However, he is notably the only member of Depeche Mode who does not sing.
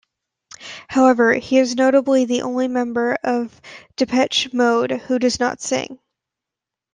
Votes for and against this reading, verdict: 2, 0, accepted